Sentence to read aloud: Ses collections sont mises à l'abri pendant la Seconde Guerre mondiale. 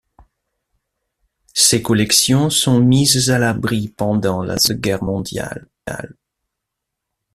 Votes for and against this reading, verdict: 1, 2, rejected